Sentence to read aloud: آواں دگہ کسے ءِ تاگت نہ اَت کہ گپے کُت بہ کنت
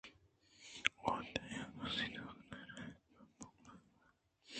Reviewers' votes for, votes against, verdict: 1, 2, rejected